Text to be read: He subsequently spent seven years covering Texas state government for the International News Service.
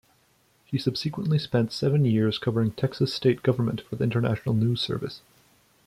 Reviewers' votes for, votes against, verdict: 2, 0, accepted